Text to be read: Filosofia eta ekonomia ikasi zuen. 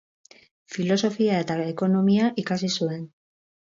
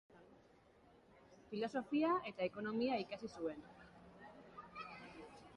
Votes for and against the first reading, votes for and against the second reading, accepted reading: 0, 2, 3, 0, second